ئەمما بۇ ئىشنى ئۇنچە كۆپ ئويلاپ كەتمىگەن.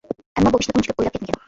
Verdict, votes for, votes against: rejected, 1, 2